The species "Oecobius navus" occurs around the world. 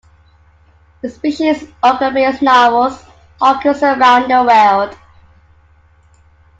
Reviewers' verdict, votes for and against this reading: rejected, 1, 2